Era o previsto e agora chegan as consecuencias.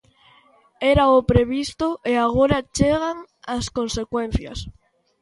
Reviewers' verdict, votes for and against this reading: accepted, 2, 0